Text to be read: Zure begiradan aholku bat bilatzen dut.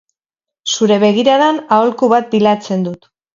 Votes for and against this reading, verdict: 0, 4, rejected